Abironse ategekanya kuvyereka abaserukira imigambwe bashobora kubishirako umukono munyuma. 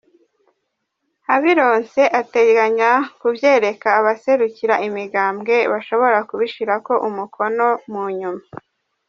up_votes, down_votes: 1, 2